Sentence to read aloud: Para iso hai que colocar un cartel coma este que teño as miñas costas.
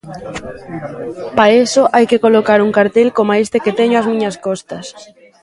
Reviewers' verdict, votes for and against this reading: rejected, 1, 2